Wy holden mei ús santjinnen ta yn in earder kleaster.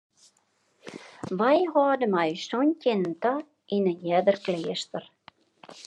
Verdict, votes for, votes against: rejected, 1, 2